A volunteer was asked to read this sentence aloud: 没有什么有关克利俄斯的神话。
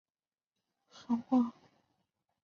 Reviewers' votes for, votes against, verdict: 0, 2, rejected